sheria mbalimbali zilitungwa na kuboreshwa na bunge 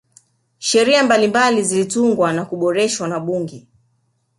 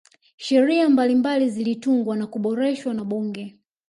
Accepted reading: first